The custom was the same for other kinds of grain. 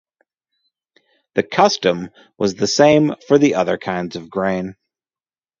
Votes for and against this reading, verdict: 0, 2, rejected